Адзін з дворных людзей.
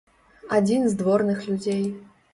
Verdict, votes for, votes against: accepted, 3, 0